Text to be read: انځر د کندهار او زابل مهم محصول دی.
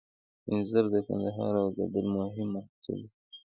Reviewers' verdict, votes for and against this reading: accepted, 2, 0